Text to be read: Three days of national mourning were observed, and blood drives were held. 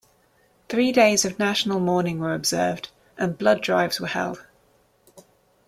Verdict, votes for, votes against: accepted, 2, 0